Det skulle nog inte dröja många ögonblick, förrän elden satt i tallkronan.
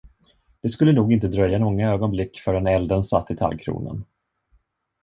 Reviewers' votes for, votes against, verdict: 2, 0, accepted